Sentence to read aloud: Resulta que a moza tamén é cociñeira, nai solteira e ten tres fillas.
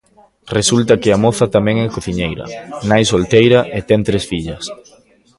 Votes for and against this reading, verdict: 1, 2, rejected